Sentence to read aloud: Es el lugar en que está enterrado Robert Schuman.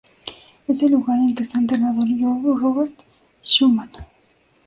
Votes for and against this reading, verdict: 0, 2, rejected